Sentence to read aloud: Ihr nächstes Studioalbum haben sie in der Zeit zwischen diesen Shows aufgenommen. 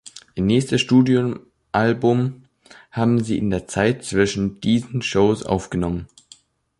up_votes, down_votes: 0, 2